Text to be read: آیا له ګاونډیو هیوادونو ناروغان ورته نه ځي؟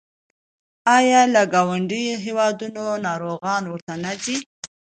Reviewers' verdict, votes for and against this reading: accepted, 2, 0